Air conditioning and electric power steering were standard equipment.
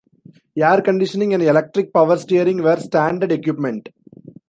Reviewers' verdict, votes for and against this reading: rejected, 1, 2